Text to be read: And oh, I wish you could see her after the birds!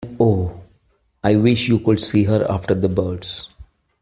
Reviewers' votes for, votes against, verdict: 0, 2, rejected